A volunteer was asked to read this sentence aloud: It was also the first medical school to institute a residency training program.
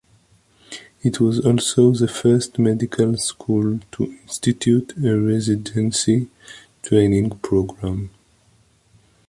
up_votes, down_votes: 2, 0